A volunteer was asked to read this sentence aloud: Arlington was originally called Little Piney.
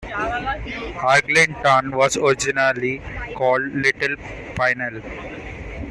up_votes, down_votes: 1, 2